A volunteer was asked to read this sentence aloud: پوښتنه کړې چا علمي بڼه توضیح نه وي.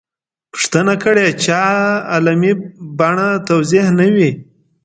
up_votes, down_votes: 0, 2